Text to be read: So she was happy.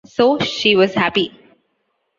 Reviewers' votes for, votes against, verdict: 2, 0, accepted